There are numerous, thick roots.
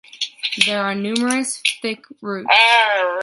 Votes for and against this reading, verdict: 0, 2, rejected